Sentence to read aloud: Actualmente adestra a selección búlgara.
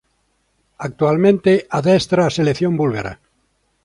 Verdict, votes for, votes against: accepted, 2, 0